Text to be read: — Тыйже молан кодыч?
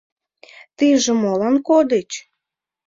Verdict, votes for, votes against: accepted, 2, 0